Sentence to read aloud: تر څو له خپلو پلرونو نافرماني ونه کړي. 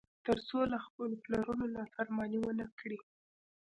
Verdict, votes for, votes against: accepted, 2, 0